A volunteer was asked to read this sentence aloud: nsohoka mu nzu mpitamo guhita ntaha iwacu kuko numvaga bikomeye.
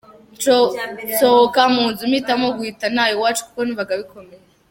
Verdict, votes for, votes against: rejected, 1, 2